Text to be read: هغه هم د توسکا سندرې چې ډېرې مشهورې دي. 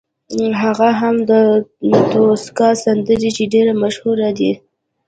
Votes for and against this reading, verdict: 1, 2, rejected